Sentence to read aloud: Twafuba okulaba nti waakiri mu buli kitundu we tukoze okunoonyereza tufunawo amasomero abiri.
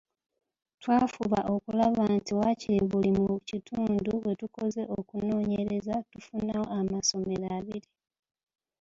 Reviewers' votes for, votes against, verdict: 0, 2, rejected